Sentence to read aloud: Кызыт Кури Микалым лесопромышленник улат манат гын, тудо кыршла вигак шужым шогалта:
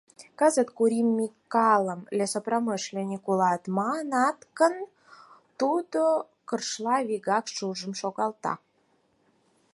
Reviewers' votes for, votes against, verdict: 4, 0, accepted